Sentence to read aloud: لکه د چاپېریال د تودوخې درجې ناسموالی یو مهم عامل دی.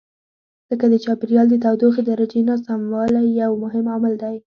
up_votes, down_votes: 2, 0